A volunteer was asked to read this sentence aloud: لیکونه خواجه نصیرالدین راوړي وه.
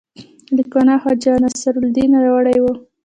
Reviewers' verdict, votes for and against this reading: rejected, 0, 2